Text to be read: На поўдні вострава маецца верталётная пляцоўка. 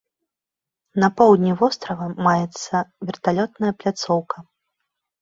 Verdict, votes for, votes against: accepted, 3, 0